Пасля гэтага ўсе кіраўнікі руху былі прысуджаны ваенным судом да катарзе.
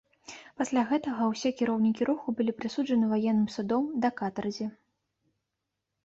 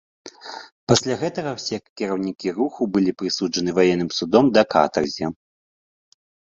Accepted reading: first